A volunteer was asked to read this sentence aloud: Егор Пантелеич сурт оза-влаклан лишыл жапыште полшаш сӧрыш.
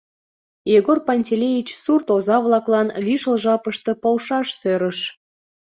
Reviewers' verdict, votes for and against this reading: accepted, 2, 0